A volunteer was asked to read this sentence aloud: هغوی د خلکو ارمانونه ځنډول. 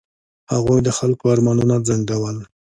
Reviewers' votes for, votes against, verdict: 2, 0, accepted